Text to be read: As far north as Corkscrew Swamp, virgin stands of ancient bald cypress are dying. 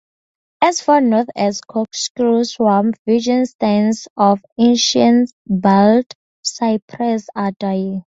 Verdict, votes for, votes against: accepted, 4, 2